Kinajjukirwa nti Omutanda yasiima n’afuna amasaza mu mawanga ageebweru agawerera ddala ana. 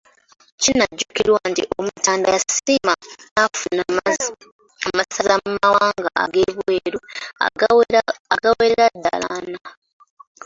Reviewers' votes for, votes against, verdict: 0, 2, rejected